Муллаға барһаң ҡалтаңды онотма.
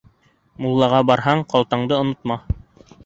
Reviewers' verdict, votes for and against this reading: accepted, 2, 0